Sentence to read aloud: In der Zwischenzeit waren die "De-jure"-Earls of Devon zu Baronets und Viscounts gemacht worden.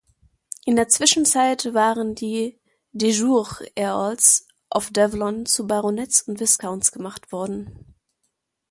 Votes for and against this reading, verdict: 0, 2, rejected